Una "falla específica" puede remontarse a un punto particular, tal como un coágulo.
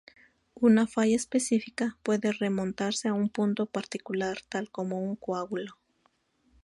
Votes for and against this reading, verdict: 2, 0, accepted